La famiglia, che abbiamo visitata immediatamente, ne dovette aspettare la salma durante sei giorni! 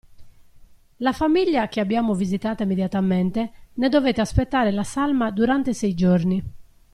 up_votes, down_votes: 1, 2